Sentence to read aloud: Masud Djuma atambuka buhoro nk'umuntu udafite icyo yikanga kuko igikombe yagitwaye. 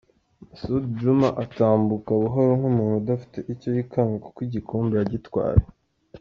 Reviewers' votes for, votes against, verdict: 2, 0, accepted